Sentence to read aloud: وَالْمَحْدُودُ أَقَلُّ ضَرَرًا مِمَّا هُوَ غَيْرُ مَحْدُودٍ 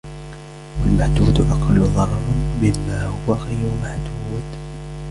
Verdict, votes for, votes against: rejected, 1, 2